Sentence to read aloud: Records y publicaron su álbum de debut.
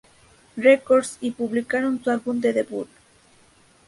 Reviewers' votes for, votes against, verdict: 0, 2, rejected